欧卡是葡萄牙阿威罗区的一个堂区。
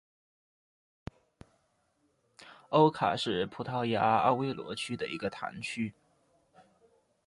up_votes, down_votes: 2, 0